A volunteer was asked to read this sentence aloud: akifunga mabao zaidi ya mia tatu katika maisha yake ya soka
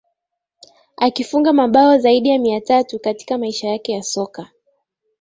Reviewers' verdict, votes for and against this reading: accepted, 2, 1